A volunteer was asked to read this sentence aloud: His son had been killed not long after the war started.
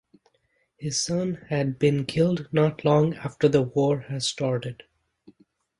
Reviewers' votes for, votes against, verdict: 0, 2, rejected